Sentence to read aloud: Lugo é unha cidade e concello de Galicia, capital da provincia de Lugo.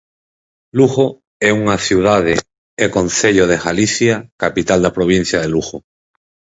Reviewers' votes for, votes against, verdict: 2, 2, rejected